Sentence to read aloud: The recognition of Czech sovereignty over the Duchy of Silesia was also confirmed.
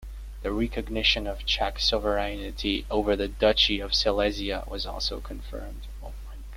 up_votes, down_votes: 1, 2